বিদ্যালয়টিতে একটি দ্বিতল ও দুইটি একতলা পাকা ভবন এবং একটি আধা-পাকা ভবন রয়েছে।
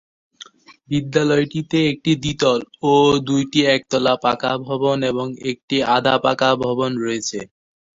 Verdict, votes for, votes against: accepted, 2, 0